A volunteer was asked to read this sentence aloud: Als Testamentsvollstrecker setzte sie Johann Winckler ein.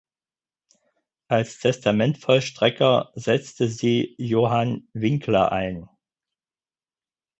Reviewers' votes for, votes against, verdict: 2, 4, rejected